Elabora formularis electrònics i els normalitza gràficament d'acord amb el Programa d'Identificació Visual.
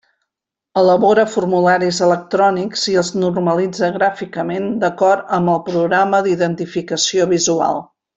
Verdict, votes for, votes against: accepted, 2, 0